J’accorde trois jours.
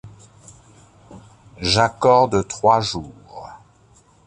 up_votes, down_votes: 2, 0